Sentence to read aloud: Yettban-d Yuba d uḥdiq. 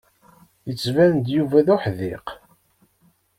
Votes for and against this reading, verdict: 2, 0, accepted